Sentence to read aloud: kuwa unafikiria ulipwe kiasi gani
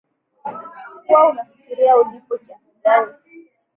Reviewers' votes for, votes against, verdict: 5, 3, accepted